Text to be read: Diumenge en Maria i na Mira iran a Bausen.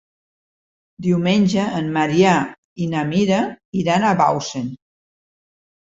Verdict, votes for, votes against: rejected, 1, 2